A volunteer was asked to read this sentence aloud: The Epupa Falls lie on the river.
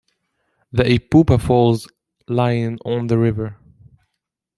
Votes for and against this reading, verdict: 0, 2, rejected